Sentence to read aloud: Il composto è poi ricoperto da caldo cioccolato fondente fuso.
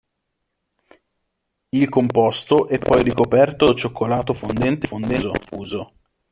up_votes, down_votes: 0, 2